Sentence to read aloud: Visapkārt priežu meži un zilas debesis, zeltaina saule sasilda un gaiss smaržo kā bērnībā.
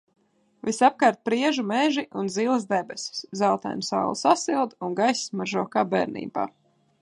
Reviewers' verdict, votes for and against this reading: accepted, 2, 0